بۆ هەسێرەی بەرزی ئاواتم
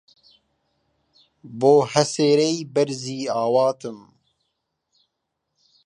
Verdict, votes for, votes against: accepted, 2, 1